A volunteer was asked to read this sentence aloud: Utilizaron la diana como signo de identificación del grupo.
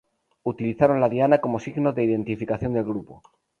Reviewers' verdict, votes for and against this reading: rejected, 2, 2